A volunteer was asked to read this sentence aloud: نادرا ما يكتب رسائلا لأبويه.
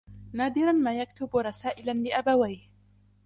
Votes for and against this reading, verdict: 3, 0, accepted